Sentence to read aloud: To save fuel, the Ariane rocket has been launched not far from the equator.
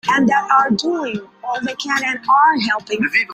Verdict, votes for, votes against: rejected, 0, 2